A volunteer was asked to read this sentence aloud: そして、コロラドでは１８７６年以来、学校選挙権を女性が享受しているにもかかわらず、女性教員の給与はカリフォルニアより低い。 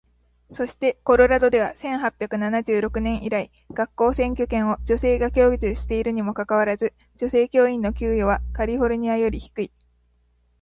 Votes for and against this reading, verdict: 0, 2, rejected